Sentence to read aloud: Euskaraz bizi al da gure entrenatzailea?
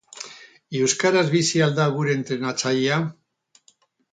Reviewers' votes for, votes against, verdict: 4, 0, accepted